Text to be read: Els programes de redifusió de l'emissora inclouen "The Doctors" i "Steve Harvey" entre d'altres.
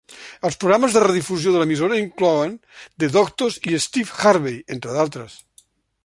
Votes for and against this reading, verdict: 2, 0, accepted